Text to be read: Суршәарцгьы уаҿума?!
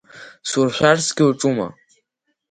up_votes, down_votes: 3, 0